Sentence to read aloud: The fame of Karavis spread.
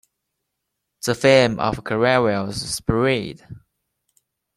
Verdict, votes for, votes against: accepted, 2, 0